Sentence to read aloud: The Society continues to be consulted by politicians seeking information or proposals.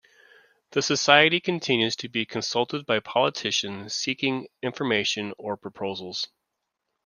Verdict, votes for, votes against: accepted, 2, 0